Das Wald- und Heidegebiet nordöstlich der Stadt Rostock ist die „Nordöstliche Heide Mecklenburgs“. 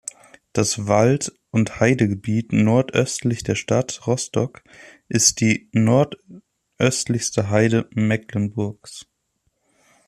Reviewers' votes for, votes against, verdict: 1, 2, rejected